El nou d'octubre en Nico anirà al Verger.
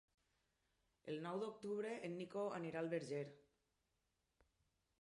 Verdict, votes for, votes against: accepted, 4, 0